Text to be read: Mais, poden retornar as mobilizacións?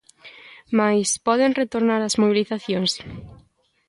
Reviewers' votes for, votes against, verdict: 2, 0, accepted